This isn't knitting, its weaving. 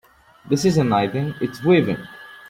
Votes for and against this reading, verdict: 0, 2, rejected